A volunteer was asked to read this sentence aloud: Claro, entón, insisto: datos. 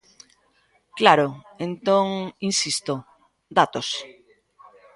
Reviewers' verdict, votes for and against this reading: rejected, 1, 2